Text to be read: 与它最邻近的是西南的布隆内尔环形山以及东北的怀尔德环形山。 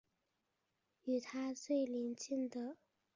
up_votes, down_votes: 0, 6